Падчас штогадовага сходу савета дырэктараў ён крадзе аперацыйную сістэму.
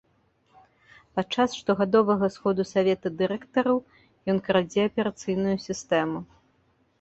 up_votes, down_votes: 2, 0